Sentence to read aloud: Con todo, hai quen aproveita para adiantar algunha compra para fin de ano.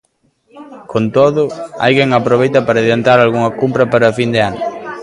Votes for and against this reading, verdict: 2, 1, accepted